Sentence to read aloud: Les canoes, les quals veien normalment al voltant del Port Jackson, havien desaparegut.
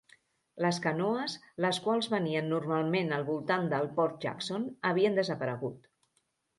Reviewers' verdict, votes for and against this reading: rejected, 1, 2